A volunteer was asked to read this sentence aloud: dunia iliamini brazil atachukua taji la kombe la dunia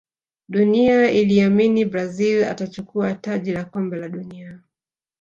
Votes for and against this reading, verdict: 2, 0, accepted